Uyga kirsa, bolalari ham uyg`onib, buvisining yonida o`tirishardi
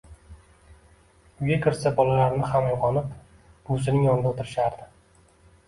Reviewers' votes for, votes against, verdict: 2, 1, accepted